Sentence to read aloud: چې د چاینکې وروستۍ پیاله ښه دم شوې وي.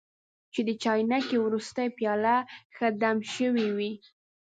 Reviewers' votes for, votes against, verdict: 2, 0, accepted